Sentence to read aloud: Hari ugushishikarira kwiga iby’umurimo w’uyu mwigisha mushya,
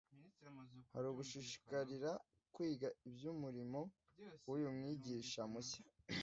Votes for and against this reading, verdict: 2, 0, accepted